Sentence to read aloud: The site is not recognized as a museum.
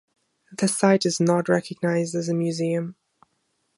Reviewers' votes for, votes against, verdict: 2, 0, accepted